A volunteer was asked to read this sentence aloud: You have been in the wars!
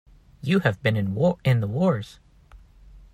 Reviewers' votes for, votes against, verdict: 0, 2, rejected